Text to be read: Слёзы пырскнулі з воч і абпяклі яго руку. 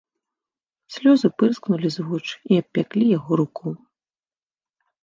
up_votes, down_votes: 1, 2